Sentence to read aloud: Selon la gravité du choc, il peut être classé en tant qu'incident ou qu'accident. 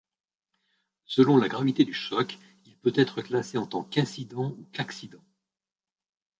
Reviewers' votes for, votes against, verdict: 2, 1, accepted